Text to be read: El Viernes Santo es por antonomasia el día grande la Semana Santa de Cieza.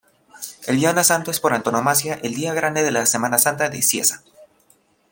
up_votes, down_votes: 0, 2